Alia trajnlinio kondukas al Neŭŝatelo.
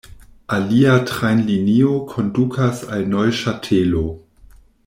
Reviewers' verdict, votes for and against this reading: rejected, 1, 2